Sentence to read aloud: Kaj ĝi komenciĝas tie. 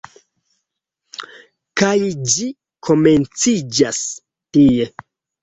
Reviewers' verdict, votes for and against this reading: accepted, 3, 0